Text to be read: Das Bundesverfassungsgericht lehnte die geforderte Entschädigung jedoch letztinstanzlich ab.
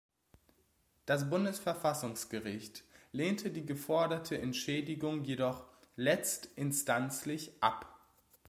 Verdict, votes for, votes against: accepted, 2, 0